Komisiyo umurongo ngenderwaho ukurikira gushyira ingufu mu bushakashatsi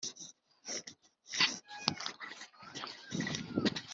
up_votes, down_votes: 0, 2